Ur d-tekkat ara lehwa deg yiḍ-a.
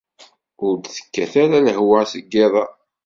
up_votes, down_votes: 2, 0